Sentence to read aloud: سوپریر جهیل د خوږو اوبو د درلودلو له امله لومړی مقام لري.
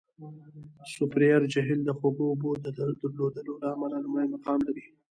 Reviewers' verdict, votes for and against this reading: rejected, 1, 2